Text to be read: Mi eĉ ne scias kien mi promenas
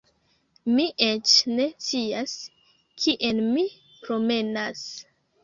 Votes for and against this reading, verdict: 1, 2, rejected